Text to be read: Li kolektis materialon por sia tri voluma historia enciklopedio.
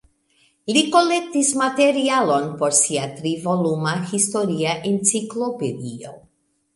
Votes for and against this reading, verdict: 3, 0, accepted